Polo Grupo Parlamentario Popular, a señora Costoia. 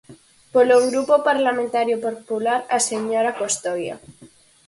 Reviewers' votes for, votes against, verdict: 0, 4, rejected